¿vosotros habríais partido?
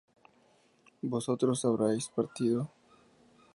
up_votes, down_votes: 2, 0